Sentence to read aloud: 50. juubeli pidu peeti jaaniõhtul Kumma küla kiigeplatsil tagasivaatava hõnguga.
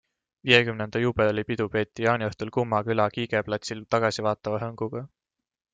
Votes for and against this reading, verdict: 0, 2, rejected